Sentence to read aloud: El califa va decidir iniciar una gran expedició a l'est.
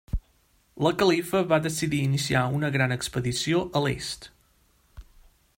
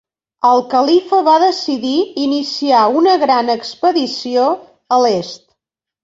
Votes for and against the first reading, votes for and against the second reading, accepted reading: 2, 3, 2, 0, second